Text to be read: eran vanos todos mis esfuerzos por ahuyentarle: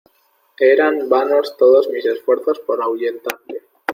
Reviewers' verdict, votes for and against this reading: accepted, 2, 0